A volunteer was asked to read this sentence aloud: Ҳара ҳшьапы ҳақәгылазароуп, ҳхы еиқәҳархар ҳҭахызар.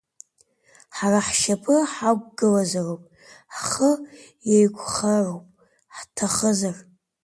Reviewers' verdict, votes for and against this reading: rejected, 0, 2